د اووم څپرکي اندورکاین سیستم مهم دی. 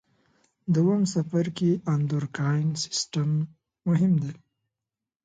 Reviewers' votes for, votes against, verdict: 2, 0, accepted